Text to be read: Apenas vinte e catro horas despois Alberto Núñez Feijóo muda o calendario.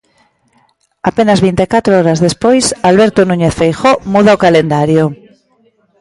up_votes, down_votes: 3, 0